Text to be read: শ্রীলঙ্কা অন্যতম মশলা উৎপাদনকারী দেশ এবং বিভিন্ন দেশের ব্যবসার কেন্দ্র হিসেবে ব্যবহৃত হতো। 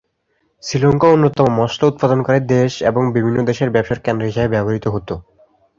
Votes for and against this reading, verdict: 2, 0, accepted